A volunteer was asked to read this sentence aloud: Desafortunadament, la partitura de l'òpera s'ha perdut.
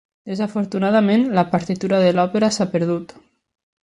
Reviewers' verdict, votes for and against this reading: accepted, 3, 0